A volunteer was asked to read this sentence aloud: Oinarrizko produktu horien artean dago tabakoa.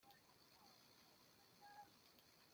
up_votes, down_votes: 0, 2